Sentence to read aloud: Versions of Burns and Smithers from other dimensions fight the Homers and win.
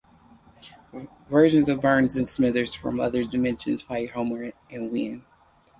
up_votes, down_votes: 0, 4